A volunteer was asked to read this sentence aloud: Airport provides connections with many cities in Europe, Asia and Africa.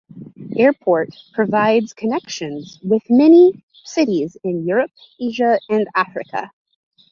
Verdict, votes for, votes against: accepted, 2, 0